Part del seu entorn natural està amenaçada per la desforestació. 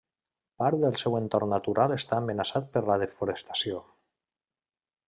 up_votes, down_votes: 0, 2